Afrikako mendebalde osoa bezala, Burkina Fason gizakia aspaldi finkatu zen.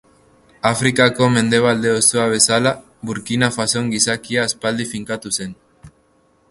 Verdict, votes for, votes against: accepted, 3, 0